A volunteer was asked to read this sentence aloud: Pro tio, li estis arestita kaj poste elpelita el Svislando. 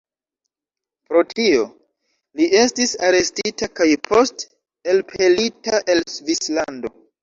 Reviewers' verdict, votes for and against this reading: rejected, 1, 2